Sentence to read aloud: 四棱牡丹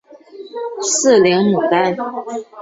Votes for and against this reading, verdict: 1, 3, rejected